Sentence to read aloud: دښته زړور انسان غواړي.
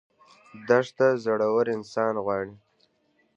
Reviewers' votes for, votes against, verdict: 3, 0, accepted